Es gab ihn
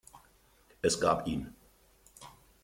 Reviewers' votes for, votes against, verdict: 2, 0, accepted